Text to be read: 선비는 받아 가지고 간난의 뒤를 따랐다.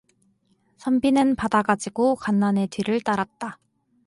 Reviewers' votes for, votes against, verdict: 4, 0, accepted